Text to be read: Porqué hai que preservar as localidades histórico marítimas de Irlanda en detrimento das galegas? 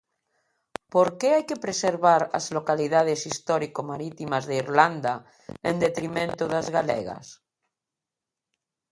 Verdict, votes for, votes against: accepted, 2, 0